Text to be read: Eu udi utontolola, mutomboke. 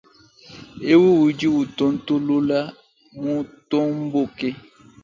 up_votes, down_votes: 2, 1